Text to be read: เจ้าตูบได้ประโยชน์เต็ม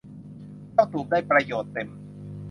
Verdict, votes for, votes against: accepted, 2, 0